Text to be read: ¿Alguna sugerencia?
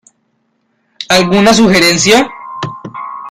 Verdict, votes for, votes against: rejected, 1, 2